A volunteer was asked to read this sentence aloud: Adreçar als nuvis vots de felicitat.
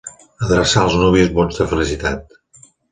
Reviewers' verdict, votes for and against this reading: accepted, 3, 2